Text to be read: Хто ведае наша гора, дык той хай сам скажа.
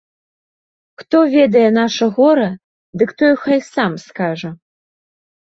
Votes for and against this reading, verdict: 1, 2, rejected